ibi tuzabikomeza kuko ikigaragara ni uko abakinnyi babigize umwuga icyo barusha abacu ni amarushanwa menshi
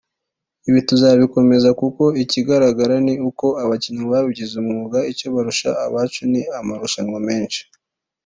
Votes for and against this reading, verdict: 2, 1, accepted